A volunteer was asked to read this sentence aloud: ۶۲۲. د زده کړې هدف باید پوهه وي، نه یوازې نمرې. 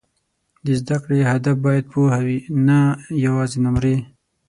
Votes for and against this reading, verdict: 0, 2, rejected